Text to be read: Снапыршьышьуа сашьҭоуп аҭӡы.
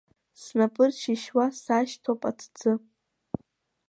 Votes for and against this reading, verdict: 2, 0, accepted